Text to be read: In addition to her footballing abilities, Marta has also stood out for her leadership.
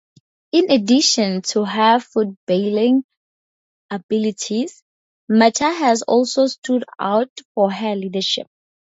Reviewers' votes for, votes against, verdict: 0, 2, rejected